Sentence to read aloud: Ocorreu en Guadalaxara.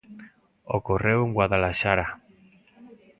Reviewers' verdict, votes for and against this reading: accepted, 2, 0